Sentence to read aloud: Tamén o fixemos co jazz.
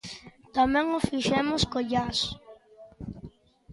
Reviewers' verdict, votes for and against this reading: accepted, 2, 0